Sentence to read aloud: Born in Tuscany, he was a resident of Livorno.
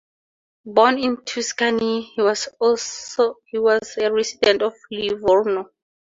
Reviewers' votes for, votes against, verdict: 0, 4, rejected